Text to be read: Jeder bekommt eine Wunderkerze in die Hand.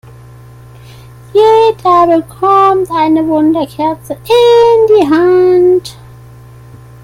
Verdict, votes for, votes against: rejected, 1, 2